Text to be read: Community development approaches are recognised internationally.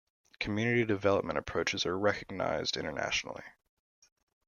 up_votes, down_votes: 2, 0